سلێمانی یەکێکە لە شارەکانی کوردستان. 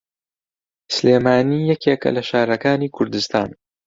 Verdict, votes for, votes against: accepted, 2, 0